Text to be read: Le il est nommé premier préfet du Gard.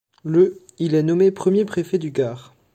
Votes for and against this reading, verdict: 2, 1, accepted